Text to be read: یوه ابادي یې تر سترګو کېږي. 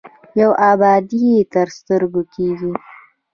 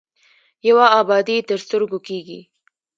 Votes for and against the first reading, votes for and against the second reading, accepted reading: 2, 0, 0, 2, first